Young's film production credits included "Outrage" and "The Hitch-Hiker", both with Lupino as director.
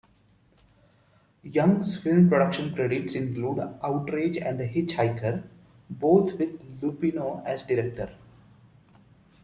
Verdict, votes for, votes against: rejected, 1, 2